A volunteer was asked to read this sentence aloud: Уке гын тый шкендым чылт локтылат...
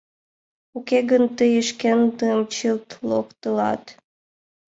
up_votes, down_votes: 2, 3